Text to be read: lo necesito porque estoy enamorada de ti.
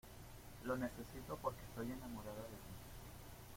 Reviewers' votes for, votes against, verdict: 2, 0, accepted